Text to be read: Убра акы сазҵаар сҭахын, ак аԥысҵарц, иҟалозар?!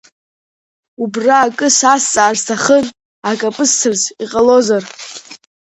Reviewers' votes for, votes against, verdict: 2, 0, accepted